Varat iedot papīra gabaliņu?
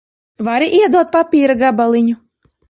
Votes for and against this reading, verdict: 1, 2, rejected